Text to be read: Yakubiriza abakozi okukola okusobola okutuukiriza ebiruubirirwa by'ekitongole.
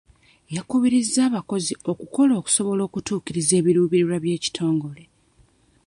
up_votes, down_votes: 1, 2